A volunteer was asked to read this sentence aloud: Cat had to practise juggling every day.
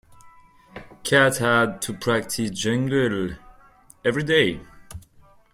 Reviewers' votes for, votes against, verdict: 0, 2, rejected